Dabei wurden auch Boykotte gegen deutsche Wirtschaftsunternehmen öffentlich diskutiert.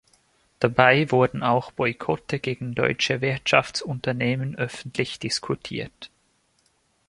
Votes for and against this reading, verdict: 2, 0, accepted